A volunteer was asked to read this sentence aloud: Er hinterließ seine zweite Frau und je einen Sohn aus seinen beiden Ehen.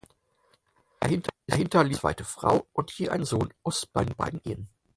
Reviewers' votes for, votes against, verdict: 0, 4, rejected